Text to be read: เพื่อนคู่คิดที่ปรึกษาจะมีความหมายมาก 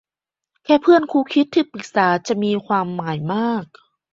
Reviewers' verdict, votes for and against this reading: rejected, 0, 2